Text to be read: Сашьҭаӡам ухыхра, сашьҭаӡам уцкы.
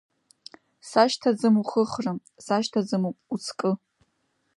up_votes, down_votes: 1, 2